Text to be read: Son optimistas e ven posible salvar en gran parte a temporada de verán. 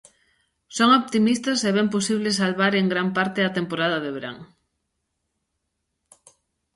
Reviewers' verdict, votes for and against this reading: accepted, 2, 0